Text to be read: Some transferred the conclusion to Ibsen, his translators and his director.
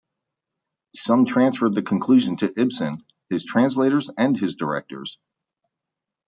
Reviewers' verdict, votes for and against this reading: accepted, 2, 0